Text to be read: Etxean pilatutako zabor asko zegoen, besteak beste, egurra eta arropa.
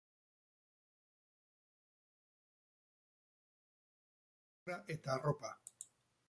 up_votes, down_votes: 0, 4